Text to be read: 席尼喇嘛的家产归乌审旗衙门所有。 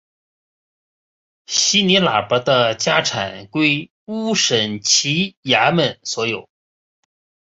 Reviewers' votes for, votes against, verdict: 1, 2, rejected